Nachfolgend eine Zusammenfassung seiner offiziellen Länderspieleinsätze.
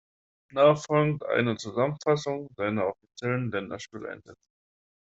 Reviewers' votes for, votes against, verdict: 1, 2, rejected